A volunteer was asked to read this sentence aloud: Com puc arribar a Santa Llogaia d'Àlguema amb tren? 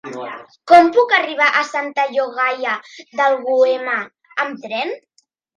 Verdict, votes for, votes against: rejected, 0, 2